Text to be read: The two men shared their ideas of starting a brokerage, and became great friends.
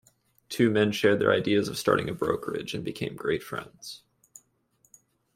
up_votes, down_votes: 2, 1